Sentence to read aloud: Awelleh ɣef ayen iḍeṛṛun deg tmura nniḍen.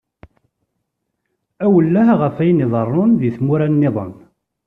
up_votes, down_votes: 2, 0